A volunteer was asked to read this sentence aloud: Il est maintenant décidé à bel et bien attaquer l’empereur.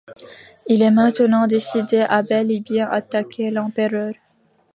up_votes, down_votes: 1, 2